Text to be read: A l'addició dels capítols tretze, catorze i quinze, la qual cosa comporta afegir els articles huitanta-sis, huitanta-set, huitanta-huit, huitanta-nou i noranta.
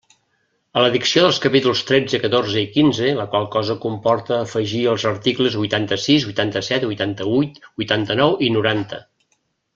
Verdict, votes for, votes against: rejected, 0, 2